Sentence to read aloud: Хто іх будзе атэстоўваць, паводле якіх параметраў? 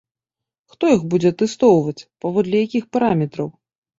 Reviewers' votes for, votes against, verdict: 3, 0, accepted